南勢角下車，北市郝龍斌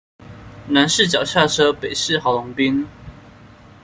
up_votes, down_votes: 2, 0